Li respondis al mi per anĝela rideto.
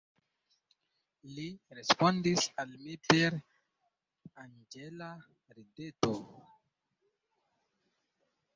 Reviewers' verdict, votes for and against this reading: rejected, 0, 2